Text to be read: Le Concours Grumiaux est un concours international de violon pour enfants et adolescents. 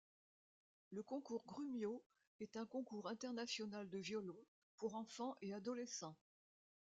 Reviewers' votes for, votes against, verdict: 0, 2, rejected